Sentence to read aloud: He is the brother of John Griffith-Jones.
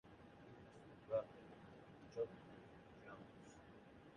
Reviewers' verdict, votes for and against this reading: rejected, 0, 2